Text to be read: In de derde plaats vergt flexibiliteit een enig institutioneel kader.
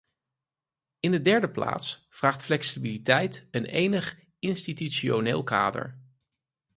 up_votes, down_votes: 2, 4